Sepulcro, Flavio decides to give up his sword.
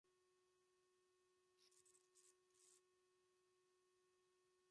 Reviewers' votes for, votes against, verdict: 1, 2, rejected